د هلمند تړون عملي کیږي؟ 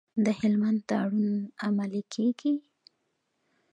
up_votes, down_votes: 2, 0